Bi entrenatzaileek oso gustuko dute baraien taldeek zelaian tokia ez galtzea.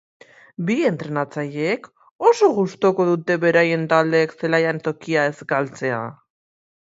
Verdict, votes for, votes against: rejected, 0, 2